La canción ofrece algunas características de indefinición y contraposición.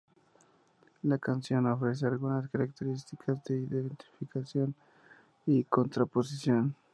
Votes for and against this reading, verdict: 0, 2, rejected